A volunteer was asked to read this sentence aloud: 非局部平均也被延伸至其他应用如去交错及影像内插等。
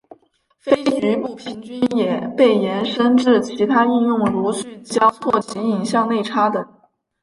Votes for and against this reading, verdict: 1, 2, rejected